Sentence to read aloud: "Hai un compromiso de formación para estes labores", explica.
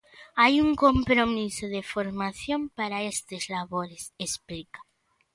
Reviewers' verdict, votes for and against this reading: accepted, 2, 0